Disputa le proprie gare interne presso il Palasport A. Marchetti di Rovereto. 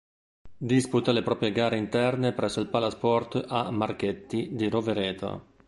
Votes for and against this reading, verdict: 2, 0, accepted